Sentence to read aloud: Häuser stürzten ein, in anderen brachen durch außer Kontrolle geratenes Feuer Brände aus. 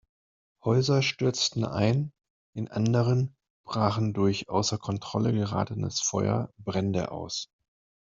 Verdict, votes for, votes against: accepted, 2, 0